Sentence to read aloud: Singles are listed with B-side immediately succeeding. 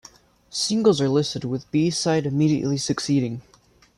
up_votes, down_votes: 0, 2